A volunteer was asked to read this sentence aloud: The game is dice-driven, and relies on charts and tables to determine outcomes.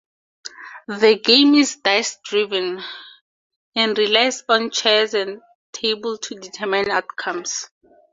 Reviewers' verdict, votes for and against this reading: rejected, 0, 2